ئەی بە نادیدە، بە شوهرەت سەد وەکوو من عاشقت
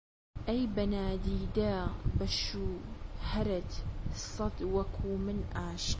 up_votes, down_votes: 2, 3